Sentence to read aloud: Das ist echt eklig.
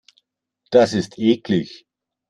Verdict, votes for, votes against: rejected, 0, 2